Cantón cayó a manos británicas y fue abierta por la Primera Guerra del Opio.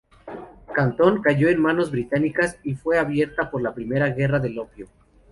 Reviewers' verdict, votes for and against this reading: rejected, 2, 2